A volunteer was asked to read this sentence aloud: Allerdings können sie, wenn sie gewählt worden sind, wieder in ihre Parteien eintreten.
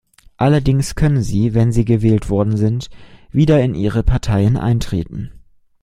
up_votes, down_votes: 2, 0